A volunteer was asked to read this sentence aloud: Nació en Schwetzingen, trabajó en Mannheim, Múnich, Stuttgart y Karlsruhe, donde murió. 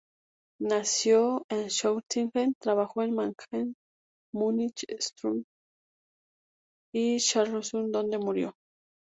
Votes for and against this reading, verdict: 0, 2, rejected